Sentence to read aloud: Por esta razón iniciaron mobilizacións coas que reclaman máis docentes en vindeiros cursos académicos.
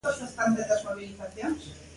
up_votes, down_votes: 0, 2